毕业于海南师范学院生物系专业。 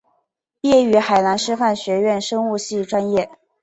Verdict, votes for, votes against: accepted, 2, 0